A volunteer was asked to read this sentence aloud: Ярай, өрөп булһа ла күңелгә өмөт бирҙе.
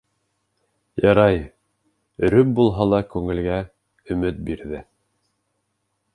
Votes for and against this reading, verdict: 3, 1, accepted